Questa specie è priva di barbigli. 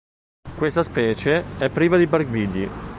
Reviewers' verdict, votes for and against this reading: accepted, 2, 0